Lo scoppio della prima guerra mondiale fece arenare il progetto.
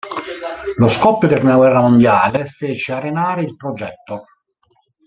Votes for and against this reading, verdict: 1, 2, rejected